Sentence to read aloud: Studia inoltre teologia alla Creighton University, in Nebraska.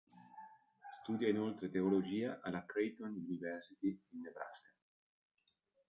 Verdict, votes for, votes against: rejected, 1, 2